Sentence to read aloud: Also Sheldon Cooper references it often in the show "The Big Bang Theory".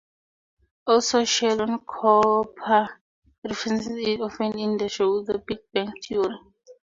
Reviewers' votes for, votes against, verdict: 2, 2, rejected